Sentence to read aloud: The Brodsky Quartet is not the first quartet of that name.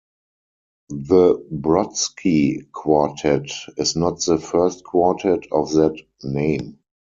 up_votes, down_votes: 4, 2